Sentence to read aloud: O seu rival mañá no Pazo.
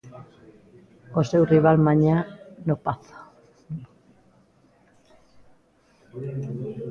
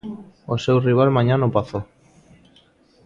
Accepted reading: second